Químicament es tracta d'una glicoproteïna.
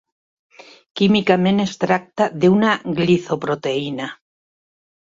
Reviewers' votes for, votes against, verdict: 0, 2, rejected